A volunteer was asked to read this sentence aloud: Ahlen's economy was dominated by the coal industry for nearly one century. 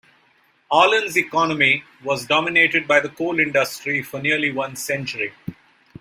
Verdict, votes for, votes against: accepted, 2, 0